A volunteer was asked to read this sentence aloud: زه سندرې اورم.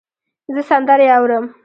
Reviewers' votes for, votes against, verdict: 2, 0, accepted